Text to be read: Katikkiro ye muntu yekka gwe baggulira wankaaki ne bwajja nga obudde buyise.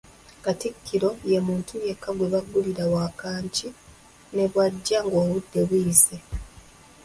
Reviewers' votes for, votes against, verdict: 0, 2, rejected